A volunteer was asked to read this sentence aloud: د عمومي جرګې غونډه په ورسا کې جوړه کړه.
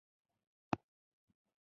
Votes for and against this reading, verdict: 2, 1, accepted